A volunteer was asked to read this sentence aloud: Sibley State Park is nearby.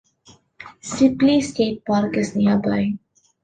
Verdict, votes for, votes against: rejected, 1, 2